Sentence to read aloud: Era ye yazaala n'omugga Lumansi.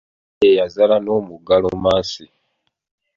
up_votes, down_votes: 0, 2